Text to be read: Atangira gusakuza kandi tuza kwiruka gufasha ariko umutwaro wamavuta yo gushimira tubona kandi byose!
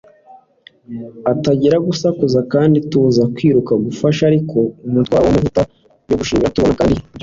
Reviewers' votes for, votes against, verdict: 1, 2, rejected